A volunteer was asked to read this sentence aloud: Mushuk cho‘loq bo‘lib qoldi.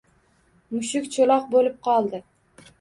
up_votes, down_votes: 2, 0